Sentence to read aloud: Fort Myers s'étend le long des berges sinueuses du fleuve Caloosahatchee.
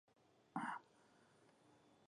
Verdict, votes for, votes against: rejected, 0, 2